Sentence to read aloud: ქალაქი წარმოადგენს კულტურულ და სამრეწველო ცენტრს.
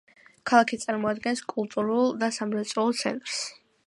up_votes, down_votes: 1, 2